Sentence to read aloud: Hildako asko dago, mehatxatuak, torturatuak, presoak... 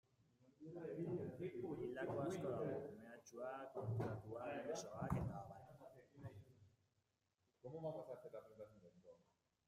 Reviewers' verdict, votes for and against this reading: rejected, 0, 2